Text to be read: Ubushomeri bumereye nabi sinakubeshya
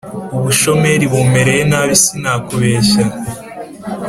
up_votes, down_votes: 2, 1